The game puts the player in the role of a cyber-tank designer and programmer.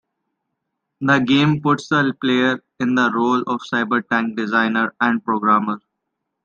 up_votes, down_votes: 1, 2